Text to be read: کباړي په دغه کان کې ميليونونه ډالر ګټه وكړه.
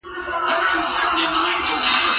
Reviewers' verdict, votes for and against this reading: rejected, 0, 2